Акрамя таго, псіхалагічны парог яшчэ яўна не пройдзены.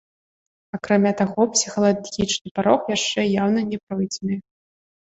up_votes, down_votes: 0, 2